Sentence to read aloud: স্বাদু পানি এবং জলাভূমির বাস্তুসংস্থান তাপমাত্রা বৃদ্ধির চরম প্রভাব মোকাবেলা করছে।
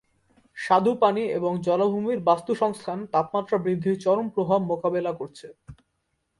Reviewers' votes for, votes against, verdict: 2, 0, accepted